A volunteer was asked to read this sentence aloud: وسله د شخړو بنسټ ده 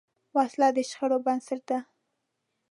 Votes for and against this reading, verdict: 2, 0, accepted